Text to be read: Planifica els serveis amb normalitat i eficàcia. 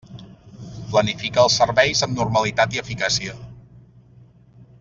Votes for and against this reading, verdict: 6, 0, accepted